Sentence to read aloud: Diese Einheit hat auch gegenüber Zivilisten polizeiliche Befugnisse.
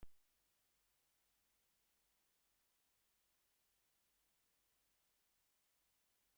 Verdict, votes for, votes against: rejected, 0, 2